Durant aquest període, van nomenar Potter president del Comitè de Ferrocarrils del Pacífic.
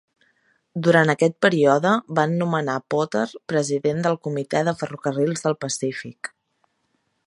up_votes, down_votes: 1, 2